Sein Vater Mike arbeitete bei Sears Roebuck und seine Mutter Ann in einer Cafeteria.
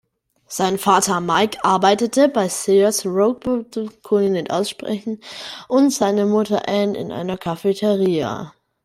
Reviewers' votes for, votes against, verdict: 0, 2, rejected